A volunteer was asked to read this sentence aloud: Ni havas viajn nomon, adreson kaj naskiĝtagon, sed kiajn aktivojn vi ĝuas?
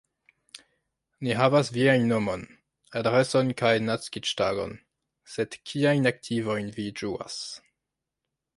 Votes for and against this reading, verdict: 2, 1, accepted